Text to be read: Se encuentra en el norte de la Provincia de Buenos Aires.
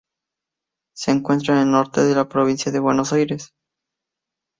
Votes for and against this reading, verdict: 2, 0, accepted